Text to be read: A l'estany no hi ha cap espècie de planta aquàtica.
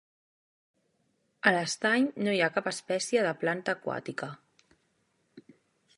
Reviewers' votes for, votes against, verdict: 3, 0, accepted